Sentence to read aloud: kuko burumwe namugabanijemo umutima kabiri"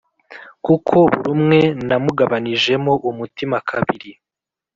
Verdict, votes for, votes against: accepted, 2, 0